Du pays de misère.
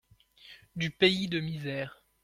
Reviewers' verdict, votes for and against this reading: accepted, 2, 0